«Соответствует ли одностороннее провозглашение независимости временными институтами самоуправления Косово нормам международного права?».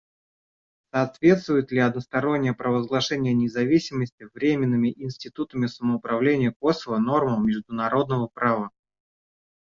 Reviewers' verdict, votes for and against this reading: rejected, 1, 2